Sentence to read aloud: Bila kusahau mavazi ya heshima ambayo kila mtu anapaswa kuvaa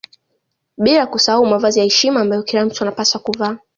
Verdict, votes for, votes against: accepted, 3, 0